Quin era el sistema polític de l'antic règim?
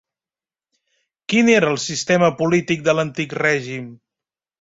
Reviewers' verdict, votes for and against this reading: accepted, 3, 0